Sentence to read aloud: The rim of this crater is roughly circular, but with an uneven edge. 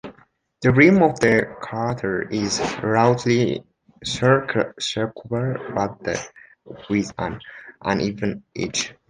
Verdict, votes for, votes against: rejected, 1, 2